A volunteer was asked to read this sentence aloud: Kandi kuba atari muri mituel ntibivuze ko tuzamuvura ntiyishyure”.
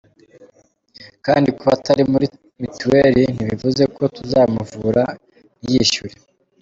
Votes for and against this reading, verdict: 2, 0, accepted